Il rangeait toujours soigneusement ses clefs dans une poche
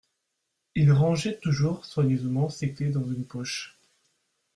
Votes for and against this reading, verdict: 2, 0, accepted